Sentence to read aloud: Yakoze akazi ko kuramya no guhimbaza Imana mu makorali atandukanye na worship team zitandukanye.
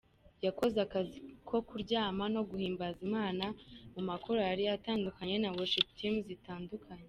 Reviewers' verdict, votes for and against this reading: rejected, 0, 2